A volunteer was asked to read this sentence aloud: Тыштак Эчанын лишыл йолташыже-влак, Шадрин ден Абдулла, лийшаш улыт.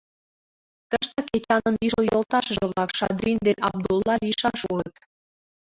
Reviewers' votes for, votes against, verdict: 2, 5, rejected